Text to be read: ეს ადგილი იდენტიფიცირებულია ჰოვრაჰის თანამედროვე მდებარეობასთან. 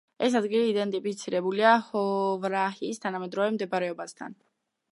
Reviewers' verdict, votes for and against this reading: rejected, 0, 2